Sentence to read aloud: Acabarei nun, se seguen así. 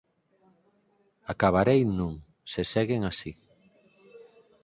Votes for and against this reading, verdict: 4, 0, accepted